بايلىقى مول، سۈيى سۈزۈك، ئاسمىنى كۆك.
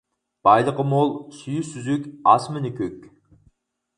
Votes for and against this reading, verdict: 4, 0, accepted